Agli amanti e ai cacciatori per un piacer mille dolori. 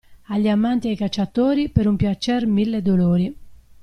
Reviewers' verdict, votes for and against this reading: accepted, 2, 0